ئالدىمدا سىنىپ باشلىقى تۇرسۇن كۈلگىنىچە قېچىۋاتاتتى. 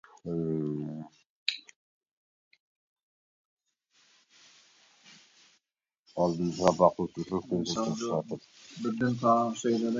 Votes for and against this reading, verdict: 0, 2, rejected